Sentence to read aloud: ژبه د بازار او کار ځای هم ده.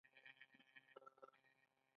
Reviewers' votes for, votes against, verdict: 1, 2, rejected